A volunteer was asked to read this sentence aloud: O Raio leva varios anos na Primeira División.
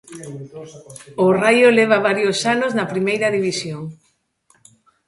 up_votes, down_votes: 2, 0